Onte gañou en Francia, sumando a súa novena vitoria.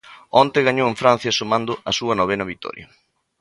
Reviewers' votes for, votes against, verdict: 2, 0, accepted